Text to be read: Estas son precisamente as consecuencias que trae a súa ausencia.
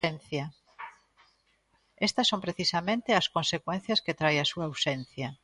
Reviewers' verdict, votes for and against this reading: rejected, 0, 2